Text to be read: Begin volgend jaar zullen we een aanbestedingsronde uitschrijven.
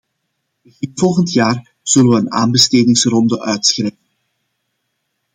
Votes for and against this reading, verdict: 0, 2, rejected